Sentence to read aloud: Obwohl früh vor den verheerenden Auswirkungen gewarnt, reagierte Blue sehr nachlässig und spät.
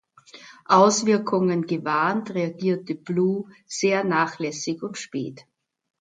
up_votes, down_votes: 0, 2